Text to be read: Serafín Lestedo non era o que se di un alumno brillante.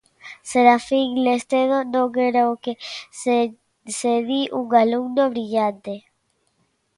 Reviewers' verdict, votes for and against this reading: rejected, 1, 2